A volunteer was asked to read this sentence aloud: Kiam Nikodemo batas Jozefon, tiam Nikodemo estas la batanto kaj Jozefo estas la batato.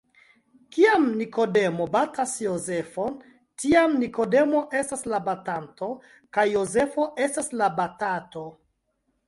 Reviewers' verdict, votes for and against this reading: accepted, 2, 0